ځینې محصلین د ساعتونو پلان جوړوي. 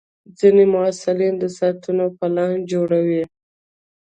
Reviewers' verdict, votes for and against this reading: accepted, 2, 0